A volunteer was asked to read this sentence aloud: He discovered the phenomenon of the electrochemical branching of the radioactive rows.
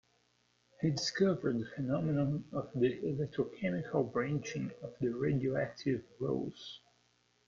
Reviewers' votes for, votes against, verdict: 0, 2, rejected